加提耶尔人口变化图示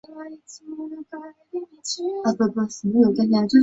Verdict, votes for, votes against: rejected, 1, 2